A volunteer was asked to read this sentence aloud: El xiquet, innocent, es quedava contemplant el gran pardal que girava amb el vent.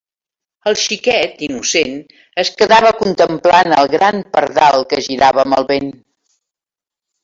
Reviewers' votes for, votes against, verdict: 2, 0, accepted